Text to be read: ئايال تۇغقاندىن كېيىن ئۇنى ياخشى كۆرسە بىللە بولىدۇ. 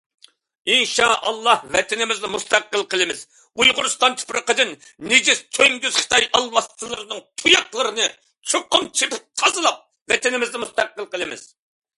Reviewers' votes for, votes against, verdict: 0, 2, rejected